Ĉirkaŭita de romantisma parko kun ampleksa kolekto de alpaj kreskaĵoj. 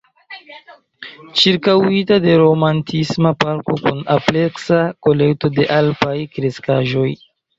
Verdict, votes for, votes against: rejected, 0, 2